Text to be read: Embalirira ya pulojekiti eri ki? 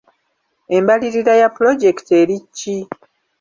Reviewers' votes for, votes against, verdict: 2, 0, accepted